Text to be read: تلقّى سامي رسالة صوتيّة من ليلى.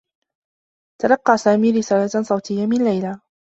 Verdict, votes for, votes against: accepted, 2, 0